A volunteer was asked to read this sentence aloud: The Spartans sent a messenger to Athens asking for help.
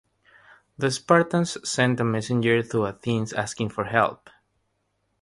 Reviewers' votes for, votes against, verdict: 3, 0, accepted